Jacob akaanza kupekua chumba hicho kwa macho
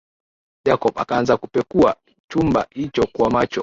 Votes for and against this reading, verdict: 18, 2, accepted